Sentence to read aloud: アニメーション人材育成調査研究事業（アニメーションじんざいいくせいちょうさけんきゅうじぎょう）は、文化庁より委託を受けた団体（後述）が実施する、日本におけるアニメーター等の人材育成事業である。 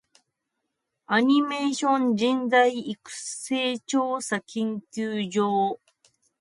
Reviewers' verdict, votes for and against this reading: rejected, 0, 2